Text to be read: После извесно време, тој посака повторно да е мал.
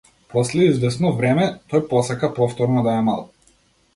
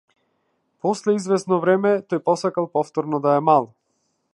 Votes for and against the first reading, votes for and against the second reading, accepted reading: 2, 0, 0, 2, first